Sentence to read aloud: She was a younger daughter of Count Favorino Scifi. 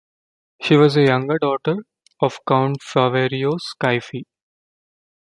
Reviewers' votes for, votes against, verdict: 1, 2, rejected